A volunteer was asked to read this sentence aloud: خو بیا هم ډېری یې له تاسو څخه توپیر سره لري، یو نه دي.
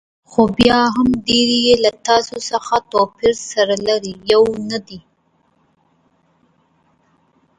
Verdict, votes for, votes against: rejected, 1, 2